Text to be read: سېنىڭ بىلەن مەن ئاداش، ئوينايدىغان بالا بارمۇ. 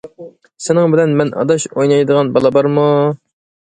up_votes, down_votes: 2, 0